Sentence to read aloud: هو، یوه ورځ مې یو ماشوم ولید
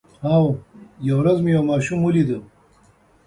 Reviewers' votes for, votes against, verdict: 2, 0, accepted